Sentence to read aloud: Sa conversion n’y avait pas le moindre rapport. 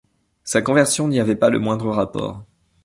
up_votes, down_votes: 2, 0